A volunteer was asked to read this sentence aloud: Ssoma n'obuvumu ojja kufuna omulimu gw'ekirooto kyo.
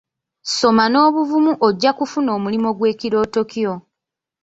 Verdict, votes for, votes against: accepted, 2, 0